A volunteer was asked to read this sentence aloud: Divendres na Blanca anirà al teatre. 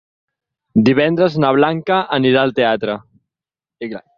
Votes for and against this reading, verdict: 6, 0, accepted